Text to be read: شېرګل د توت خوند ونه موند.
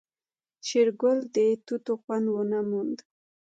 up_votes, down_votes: 2, 1